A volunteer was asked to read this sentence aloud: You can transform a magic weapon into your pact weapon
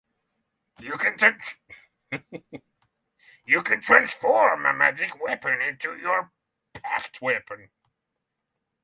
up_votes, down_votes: 0, 6